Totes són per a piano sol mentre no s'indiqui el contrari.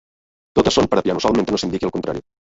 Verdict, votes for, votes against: rejected, 1, 2